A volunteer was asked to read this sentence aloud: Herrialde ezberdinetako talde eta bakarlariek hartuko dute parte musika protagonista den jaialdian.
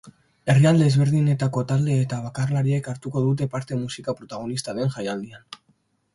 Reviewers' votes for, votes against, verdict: 2, 0, accepted